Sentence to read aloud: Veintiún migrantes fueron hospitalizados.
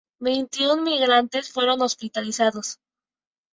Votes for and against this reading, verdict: 2, 0, accepted